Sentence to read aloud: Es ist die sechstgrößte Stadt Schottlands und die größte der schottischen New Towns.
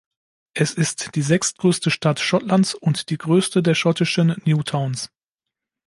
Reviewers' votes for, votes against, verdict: 2, 0, accepted